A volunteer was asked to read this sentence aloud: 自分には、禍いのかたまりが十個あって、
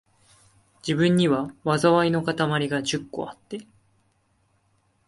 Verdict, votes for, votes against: accepted, 2, 0